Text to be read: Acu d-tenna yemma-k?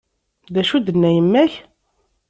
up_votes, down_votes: 2, 0